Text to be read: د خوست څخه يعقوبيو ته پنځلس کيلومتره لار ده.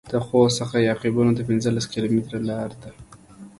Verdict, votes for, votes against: accepted, 2, 0